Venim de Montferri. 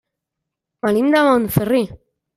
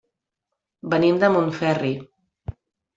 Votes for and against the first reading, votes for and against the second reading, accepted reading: 0, 2, 3, 0, second